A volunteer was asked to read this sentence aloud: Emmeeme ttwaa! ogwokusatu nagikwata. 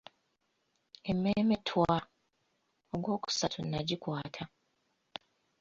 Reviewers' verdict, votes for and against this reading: accepted, 2, 0